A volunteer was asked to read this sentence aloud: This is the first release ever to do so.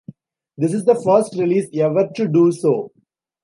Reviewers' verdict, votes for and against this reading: accepted, 2, 0